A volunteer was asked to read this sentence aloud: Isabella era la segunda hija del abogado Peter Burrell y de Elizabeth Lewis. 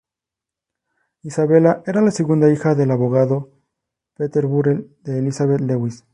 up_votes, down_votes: 2, 0